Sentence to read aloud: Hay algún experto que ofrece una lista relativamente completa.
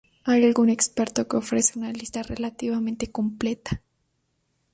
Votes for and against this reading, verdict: 2, 2, rejected